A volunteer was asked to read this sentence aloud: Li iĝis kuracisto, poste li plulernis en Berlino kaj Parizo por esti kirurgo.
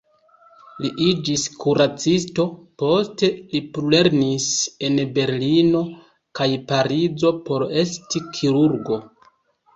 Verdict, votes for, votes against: rejected, 1, 2